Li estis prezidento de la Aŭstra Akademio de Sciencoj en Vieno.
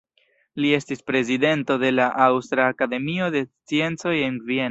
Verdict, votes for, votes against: rejected, 0, 2